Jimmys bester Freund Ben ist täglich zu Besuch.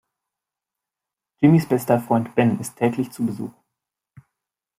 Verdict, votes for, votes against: accepted, 2, 0